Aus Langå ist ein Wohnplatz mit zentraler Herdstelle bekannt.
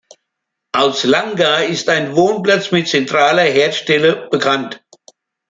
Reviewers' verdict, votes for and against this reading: accepted, 2, 0